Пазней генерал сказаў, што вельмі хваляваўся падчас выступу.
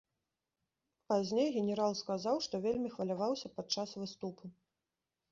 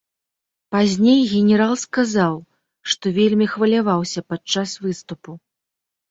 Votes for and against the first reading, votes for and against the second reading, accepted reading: 0, 2, 4, 1, second